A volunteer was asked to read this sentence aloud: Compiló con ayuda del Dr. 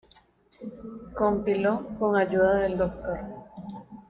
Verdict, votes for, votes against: accepted, 2, 1